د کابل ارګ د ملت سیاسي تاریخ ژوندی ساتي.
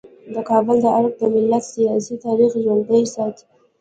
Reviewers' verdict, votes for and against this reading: rejected, 1, 2